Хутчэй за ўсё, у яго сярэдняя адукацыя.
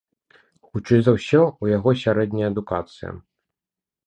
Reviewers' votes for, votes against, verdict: 2, 0, accepted